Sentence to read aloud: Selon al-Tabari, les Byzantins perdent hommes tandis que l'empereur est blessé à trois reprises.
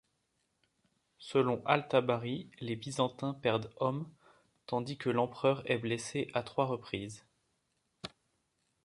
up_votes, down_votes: 3, 0